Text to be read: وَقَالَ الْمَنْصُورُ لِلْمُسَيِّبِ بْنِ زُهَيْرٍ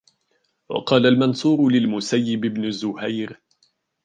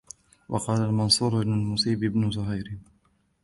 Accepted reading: first